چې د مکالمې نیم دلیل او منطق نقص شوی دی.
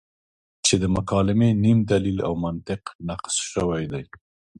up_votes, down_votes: 2, 0